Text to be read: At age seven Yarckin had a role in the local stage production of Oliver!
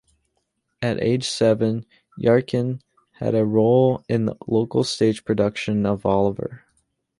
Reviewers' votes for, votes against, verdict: 2, 0, accepted